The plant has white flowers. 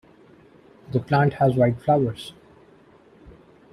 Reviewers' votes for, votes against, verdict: 2, 0, accepted